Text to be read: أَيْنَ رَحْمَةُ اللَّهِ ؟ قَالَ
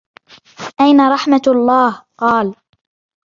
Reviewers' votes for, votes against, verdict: 2, 0, accepted